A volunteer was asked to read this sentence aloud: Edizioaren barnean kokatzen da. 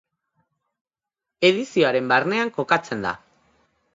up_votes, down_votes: 2, 0